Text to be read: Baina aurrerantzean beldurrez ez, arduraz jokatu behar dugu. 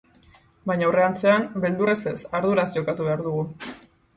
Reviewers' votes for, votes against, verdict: 2, 2, rejected